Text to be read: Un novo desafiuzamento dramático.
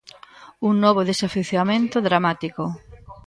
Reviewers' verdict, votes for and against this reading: rejected, 1, 2